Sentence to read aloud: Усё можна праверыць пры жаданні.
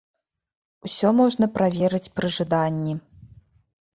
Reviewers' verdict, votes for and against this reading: accepted, 2, 0